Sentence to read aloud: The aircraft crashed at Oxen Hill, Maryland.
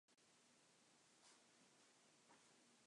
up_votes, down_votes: 0, 2